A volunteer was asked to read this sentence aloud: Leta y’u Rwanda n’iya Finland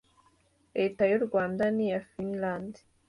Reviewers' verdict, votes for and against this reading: accepted, 2, 0